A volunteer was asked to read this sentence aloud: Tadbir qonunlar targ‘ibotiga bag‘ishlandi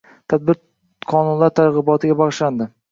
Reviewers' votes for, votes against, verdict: 1, 2, rejected